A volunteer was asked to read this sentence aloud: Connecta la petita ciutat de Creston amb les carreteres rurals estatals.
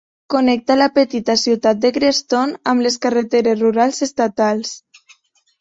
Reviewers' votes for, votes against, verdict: 2, 0, accepted